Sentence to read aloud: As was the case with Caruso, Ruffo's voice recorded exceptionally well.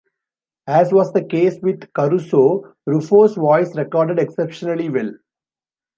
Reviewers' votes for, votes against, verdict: 2, 0, accepted